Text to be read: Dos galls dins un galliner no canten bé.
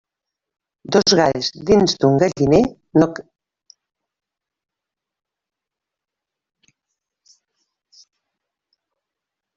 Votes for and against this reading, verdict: 0, 2, rejected